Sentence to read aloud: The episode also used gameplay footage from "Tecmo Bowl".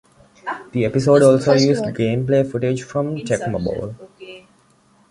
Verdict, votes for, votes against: accepted, 2, 1